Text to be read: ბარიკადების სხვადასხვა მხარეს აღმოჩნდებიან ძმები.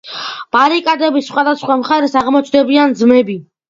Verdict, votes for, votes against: accepted, 2, 0